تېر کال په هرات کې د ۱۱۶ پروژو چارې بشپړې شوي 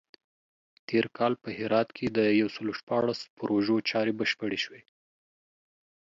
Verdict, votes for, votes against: rejected, 0, 2